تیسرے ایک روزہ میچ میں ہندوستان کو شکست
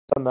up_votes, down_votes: 2, 0